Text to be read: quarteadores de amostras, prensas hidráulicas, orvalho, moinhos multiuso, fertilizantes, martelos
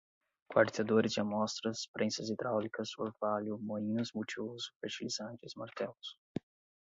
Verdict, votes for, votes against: accepted, 4, 0